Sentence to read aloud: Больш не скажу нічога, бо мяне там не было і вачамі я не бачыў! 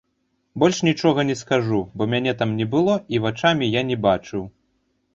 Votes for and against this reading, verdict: 0, 2, rejected